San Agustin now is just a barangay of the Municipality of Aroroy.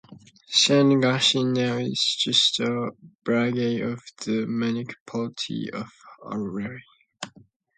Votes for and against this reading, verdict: 2, 0, accepted